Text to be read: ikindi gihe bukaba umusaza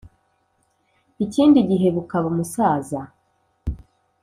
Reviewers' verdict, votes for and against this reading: accepted, 2, 0